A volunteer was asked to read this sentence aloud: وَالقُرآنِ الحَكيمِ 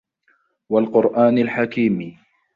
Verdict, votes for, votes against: accepted, 2, 0